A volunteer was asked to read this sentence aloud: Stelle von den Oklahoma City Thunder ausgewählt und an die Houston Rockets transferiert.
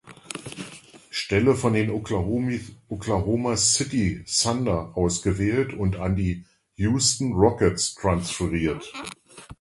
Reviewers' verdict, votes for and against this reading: rejected, 0, 2